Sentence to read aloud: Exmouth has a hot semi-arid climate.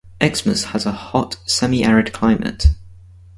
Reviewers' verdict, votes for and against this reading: rejected, 2, 2